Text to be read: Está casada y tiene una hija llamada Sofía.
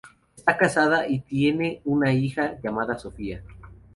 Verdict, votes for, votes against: rejected, 0, 2